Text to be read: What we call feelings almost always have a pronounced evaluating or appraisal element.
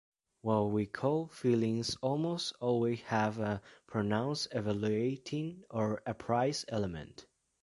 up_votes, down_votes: 2, 3